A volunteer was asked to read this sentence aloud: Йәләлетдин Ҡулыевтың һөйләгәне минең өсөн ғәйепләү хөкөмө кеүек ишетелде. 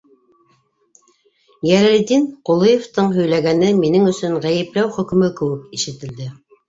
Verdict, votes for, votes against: accepted, 2, 1